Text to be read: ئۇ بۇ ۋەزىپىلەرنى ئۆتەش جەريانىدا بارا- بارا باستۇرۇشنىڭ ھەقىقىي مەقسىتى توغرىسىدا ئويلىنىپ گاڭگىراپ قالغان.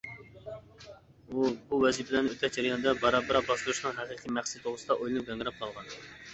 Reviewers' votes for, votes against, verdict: 1, 3, rejected